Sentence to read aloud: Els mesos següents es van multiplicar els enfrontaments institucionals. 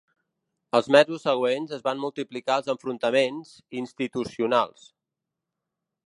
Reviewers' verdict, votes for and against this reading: accepted, 2, 0